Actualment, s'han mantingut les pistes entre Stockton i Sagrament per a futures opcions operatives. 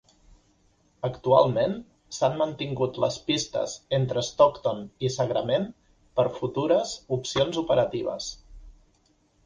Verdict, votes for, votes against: accepted, 2, 1